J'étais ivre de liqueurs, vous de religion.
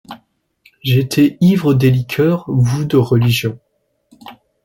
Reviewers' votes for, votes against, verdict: 2, 1, accepted